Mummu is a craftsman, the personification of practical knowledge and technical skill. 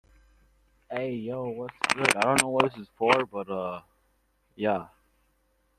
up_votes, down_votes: 0, 2